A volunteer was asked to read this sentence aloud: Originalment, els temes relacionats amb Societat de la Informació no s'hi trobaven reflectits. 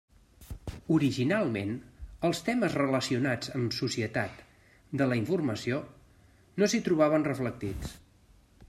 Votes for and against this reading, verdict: 3, 0, accepted